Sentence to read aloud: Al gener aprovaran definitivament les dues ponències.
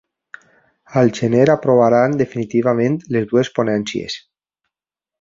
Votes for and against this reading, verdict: 5, 0, accepted